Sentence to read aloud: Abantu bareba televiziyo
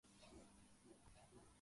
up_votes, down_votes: 0, 2